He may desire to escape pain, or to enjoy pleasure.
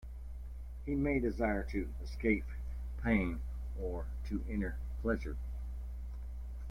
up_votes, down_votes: 0, 2